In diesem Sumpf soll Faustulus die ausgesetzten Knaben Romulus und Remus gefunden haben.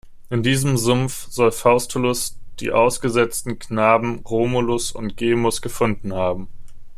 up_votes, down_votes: 1, 2